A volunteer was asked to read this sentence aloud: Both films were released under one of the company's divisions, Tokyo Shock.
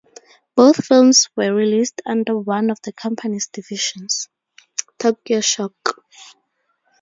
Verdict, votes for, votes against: accepted, 4, 0